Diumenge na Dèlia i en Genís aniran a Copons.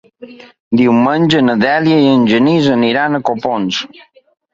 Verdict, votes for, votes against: rejected, 1, 2